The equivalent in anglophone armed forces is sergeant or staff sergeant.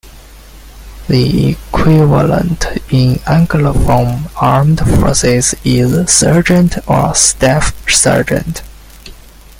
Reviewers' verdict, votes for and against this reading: rejected, 1, 2